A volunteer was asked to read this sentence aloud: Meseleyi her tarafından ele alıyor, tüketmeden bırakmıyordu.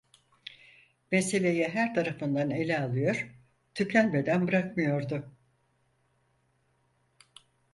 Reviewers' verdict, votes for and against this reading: rejected, 0, 4